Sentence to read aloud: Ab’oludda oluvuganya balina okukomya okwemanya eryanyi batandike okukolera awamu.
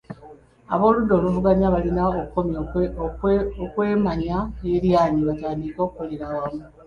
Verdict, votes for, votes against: rejected, 0, 2